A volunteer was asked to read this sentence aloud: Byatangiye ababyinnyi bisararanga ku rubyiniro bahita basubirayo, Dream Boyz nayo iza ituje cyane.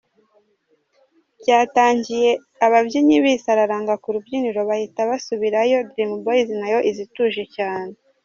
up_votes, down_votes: 2, 0